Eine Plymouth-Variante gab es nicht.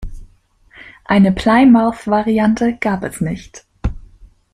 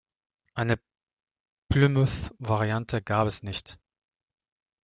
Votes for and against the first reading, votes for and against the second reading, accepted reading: 1, 2, 2, 0, second